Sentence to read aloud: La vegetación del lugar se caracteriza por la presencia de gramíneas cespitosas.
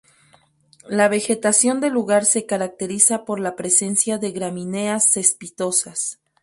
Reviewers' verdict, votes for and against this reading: accepted, 4, 0